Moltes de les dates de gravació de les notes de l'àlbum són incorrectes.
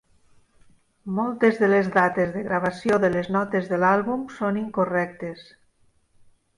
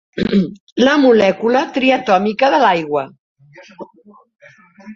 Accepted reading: first